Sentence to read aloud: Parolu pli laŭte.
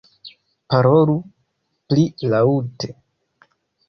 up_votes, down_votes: 2, 0